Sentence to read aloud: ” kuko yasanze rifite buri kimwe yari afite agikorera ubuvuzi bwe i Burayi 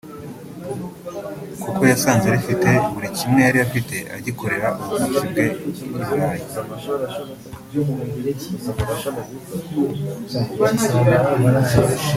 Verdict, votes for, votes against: rejected, 0, 2